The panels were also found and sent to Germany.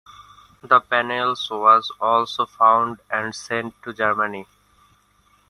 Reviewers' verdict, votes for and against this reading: rejected, 1, 2